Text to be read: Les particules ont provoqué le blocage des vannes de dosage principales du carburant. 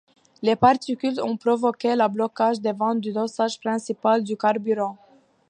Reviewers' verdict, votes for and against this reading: accepted, 2, 0